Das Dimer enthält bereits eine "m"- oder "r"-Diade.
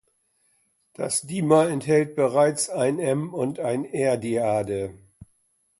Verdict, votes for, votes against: rejected, 1, 2